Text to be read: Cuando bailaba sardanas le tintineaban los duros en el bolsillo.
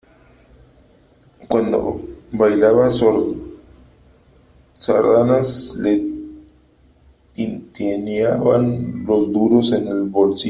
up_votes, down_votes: 1, 2